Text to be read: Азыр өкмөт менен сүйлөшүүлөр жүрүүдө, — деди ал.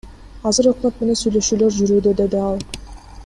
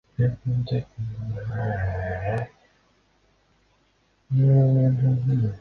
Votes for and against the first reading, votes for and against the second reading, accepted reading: 2, 0, 0, 2, first